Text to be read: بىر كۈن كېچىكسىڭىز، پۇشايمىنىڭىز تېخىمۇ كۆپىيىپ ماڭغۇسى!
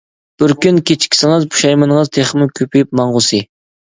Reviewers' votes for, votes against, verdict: 2, 0, accepted